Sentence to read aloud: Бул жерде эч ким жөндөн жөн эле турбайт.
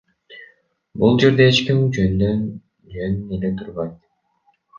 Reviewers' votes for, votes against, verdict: 2, 0, accepted